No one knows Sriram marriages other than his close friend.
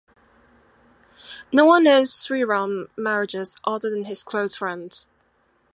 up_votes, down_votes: 2, 0